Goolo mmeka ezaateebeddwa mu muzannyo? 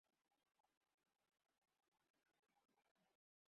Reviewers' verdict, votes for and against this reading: rejected, 0, 2